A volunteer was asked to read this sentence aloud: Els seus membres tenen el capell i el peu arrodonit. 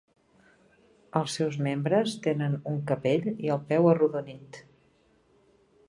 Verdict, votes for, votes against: rejected, 0, 2